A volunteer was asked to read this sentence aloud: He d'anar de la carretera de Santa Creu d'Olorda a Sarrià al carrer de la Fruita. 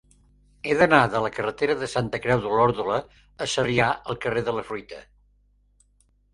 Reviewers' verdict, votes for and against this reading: rejected, 1, 4